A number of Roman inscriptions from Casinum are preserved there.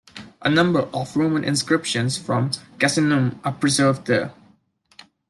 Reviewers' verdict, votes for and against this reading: accepted, 2, 0